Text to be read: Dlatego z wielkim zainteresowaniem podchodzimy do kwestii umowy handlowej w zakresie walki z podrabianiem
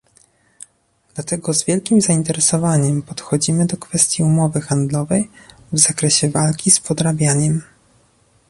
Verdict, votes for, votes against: rejected, 1, 2